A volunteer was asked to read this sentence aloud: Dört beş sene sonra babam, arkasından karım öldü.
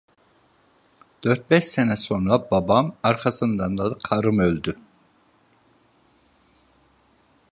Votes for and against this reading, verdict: 1, 2, rejected